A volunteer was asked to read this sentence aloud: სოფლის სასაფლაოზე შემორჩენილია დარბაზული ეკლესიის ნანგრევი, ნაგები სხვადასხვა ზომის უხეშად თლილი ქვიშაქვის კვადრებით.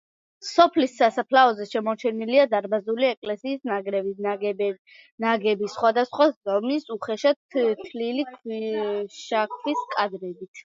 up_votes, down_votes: 1, 2